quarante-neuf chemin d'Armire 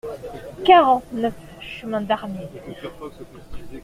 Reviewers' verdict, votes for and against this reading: accepted, 2, 0